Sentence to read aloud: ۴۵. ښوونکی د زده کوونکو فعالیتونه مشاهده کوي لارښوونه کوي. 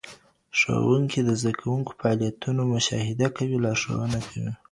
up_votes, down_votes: 0, 2